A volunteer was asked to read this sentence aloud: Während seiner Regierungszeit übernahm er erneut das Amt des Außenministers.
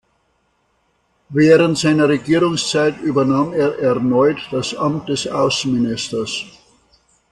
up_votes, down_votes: 2, 0